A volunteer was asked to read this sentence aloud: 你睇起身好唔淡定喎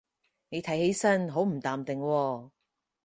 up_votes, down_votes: 2, 2